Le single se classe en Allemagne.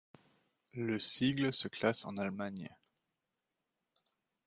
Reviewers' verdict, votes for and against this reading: rejected, 1, 2